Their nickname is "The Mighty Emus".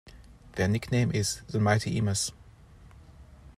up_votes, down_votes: 1, 2